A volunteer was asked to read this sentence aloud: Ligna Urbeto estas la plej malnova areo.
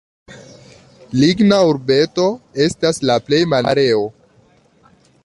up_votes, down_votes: 0, 2